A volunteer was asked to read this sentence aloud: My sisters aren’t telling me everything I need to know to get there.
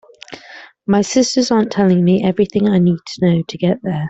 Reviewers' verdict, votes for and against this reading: accepted, 3, 0